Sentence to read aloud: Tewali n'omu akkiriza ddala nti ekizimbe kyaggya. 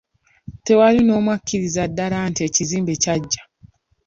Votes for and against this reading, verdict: 2, 0, accepted